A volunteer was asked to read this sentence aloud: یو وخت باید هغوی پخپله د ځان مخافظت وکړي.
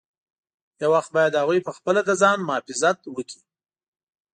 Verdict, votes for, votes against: rejected, 1, 2